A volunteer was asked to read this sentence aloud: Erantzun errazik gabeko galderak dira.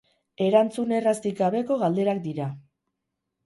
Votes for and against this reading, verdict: 0, 2, rejected